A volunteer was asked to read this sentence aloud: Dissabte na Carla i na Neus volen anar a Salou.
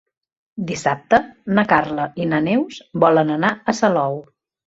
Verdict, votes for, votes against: accepted, 2, 0